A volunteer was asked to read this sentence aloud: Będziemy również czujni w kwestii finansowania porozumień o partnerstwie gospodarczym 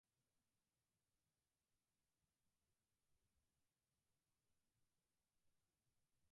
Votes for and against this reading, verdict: 0, 2, rejected